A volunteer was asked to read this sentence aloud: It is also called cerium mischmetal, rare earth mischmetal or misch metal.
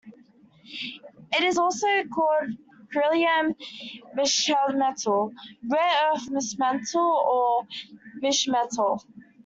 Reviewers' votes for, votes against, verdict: 0, 2, rejected